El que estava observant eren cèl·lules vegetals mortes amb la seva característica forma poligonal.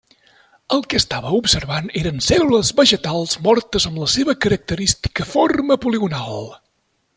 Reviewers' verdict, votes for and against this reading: rejected, 0, 2